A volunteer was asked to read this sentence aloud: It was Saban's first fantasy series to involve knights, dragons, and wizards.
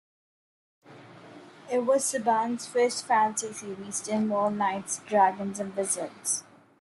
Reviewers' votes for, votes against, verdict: 2, 1, accepted